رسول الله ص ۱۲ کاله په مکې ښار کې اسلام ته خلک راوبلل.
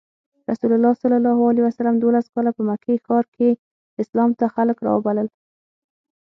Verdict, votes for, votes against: rejected, 0, 2